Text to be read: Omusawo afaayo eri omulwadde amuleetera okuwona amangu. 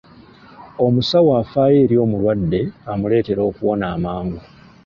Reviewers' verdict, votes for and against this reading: accepted, 2, 0